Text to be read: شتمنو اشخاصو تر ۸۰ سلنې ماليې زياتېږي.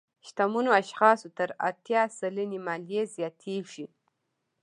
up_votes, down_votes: 0, 2